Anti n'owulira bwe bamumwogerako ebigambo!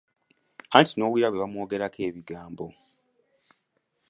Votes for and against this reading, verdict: 2, 1, accepted